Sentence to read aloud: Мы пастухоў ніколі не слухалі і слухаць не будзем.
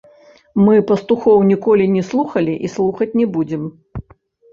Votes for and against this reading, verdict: 1, 2, rejected